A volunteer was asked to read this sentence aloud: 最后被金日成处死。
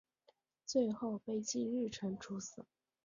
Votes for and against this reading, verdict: 2, 1, accepted